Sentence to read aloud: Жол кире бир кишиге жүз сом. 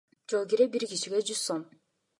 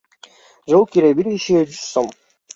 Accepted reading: first